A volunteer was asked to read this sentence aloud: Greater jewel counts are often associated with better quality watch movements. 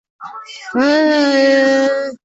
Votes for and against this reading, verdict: 0, 2, rejected